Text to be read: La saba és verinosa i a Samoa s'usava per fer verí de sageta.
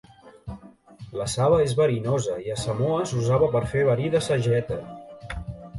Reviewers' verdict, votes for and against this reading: rejected, 0, 2